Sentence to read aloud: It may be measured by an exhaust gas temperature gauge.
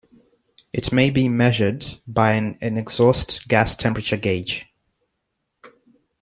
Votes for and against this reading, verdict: 1, 2, rejected